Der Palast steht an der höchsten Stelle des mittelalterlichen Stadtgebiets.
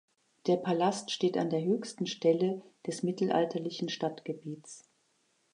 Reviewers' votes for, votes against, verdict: 2, 0, accepted